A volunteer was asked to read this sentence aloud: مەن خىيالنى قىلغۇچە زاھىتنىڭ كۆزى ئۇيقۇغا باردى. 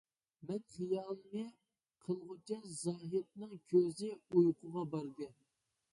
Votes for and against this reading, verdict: 0, 2, rejected